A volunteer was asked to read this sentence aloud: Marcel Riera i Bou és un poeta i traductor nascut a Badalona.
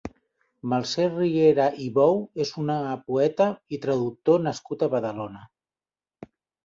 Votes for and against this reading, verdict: 1, 2, rejected